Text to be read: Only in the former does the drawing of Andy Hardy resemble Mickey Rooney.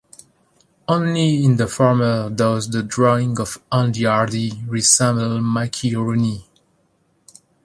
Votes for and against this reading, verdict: 2, 0, accepted